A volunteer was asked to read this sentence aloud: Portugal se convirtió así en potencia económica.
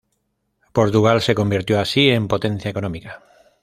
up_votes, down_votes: 2, 0